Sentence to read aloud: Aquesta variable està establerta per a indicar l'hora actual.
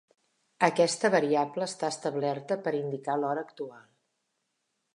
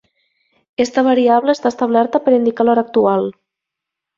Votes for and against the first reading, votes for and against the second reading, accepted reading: 2, 0, 1, 2, first